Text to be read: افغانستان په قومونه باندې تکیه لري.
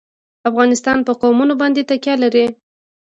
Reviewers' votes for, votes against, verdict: 1, 2, rejected